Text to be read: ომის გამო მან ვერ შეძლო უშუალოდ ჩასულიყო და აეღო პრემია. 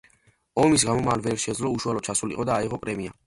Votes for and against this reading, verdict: 1, 2, rejected